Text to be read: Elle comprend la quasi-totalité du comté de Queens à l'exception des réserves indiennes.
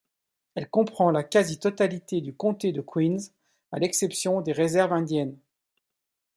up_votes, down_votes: 2, 0